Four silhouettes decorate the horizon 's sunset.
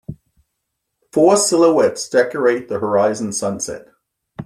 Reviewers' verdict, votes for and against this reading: accepted, 2, 0